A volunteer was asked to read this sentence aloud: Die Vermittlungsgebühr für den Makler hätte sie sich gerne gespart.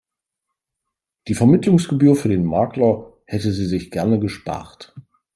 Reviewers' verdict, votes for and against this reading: accepted, 3, 0